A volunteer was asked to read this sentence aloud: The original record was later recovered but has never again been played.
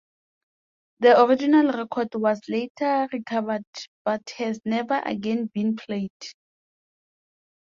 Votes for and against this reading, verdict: 2, 0, accepted